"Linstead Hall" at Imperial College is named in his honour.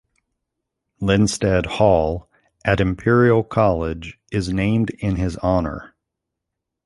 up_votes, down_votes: 2, 0